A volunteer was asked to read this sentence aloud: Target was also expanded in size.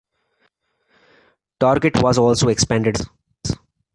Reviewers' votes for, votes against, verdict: 2, 0, accepted